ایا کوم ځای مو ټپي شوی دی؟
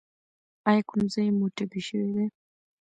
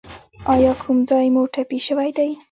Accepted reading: first